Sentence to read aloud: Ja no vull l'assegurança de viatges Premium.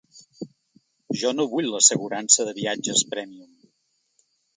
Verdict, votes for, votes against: rejected, 0, 2